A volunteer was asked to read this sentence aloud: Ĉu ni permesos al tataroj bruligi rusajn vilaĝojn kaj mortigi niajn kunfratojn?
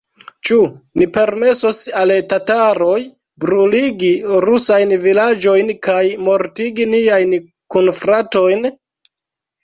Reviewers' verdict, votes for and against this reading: accepted, 2, 0